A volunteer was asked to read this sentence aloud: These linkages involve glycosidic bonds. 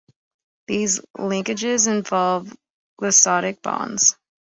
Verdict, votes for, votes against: rejected, 0, 2